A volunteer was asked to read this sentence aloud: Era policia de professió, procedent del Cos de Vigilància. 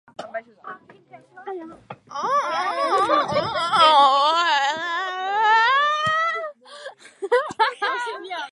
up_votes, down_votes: 0, 2